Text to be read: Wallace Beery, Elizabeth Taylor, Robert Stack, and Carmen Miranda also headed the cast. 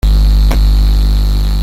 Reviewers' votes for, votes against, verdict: 1, 2, rejected